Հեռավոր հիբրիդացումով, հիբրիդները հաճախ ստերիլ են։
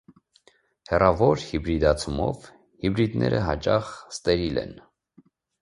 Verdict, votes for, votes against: accepted, 2, 0